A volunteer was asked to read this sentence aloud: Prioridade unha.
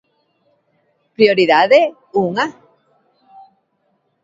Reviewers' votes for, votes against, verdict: 2, 1, accepted